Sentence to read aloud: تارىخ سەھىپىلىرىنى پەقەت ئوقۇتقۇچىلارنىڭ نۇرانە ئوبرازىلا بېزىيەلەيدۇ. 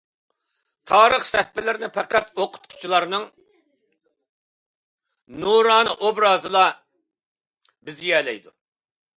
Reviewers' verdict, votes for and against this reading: accepted, 2, 0